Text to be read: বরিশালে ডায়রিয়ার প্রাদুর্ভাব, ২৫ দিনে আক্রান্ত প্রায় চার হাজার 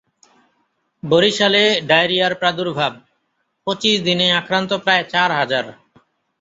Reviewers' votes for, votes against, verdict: 0, 2, rejected